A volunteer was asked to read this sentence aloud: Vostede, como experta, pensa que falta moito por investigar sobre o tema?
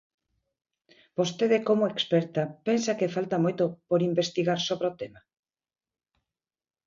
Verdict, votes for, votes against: accepted, 8, 1